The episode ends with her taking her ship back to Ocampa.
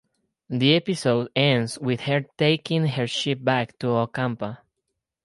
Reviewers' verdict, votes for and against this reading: accepted, 4, 2